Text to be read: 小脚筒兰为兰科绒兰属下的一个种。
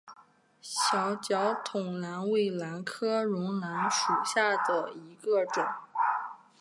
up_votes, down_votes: 5, 2